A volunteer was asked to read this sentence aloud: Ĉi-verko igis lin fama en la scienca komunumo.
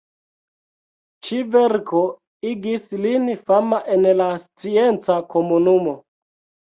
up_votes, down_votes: 0, 2